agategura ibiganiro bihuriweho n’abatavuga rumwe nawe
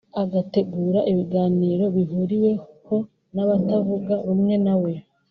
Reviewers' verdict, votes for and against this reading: rejected, 0, 2